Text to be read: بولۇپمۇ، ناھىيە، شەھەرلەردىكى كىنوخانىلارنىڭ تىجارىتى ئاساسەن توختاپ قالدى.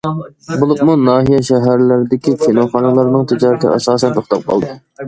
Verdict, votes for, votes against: accepted, 2, 0